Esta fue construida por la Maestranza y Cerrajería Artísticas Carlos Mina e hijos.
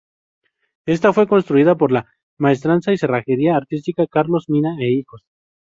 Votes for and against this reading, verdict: 0, 2, rejected